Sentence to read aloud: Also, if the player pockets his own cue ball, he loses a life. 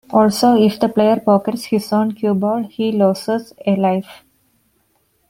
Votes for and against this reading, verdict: 1, 2, rejected